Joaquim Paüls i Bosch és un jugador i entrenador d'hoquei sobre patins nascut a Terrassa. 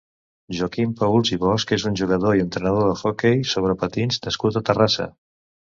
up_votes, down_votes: 2, 0